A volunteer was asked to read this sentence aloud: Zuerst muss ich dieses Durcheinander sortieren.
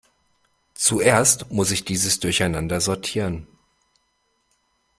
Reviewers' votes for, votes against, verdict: 2, 0, accepted